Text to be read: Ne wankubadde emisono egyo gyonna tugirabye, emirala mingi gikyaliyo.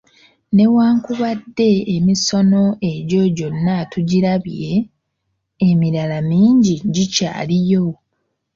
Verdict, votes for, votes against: accepted, 2, 0